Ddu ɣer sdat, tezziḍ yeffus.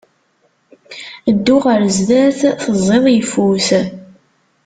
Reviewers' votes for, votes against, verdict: 1, 2, rejected